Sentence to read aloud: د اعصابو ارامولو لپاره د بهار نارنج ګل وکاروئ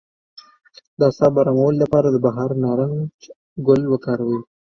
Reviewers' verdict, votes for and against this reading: accepted, 2, 1